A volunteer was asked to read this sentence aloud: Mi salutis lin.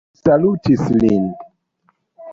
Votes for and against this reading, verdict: 0, 2, rejected